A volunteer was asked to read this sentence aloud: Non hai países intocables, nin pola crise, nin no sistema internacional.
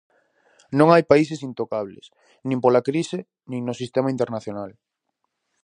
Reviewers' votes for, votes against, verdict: 2, 0, accepted